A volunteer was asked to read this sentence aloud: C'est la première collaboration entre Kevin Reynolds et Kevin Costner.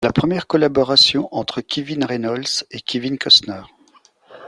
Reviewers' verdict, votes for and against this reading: rejected, 0, 2